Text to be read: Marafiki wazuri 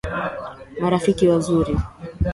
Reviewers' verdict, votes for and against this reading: accepted, 2, 1